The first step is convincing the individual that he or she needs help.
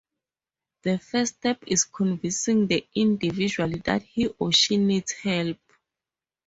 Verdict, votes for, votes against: rejected, 2, 4